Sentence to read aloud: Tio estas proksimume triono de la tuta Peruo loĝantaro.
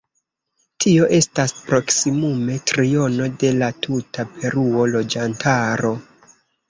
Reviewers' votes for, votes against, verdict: 2, 0, accepted